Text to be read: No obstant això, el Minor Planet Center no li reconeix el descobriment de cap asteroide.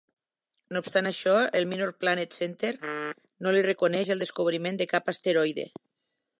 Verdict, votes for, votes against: accepted, 4, 0